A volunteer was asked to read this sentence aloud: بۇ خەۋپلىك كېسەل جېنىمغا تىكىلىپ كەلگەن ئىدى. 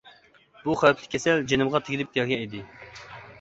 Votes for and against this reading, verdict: 0, 2, rejected